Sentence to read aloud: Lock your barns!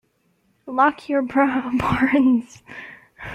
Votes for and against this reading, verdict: 0, 2, rejected